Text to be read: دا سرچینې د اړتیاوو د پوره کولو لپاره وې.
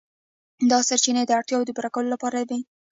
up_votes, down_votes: 0, 2